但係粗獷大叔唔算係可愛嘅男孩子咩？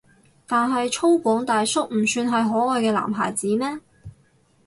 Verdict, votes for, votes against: rejected, 0, 2